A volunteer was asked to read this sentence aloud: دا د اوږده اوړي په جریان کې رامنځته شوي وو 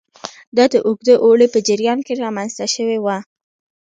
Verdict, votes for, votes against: accepted, 2, 1